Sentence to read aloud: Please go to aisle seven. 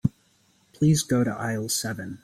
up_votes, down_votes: 1, 2